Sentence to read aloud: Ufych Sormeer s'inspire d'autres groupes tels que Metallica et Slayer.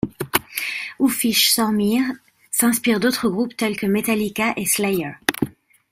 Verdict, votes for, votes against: accepted, 2, 0